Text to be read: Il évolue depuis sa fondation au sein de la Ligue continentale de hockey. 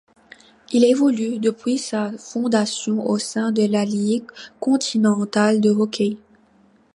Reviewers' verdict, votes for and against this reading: accepted, 2, 0